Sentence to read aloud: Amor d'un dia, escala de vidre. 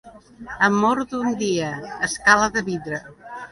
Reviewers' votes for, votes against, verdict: 2, 0, accepted